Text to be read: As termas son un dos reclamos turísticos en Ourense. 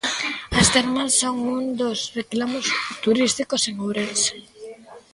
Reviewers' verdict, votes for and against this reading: accepted, 2, 1